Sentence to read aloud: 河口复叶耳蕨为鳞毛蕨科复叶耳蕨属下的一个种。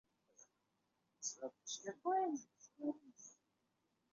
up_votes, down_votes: 0, 4